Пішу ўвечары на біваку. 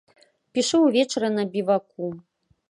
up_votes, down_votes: 2, 0